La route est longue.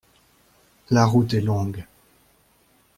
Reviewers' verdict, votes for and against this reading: accepted, 2, 0